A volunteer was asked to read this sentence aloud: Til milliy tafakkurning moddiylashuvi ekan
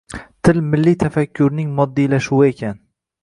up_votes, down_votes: 2, 0